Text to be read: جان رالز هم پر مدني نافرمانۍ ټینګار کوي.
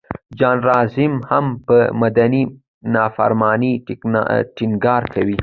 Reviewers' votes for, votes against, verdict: 2, 1, accepted